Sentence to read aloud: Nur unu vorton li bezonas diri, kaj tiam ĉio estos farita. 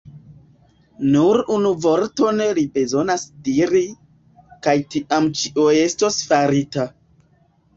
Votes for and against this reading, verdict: 0, 2, rejected